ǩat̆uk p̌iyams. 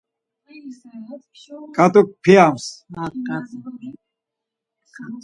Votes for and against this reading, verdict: 4, 2, accepted